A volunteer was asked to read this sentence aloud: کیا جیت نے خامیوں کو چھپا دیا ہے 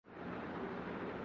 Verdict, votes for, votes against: rejected, 0, 2